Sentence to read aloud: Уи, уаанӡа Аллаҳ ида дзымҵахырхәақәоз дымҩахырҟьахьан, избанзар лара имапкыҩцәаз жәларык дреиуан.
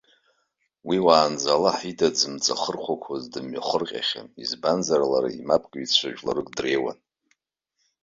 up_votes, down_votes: 2, 0